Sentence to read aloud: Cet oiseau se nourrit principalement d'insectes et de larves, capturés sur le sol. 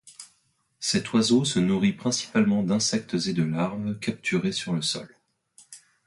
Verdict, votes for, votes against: accepted, 2, 0